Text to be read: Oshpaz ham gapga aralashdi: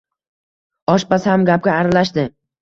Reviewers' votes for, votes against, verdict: 2, 1, accepted